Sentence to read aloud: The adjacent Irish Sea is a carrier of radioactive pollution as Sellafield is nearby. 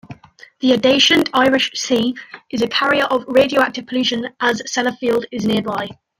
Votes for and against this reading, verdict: 1, 2, rejected